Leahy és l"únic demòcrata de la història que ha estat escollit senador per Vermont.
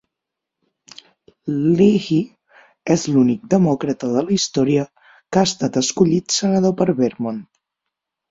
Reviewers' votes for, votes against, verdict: 0, 6, rejected